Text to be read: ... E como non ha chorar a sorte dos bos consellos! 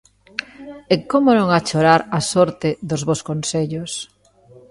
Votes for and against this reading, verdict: 2, 0, accepted